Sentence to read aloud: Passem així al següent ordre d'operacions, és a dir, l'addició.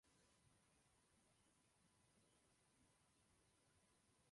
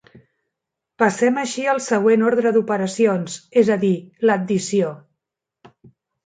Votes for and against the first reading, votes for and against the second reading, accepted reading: 0, 3, 3, 0, second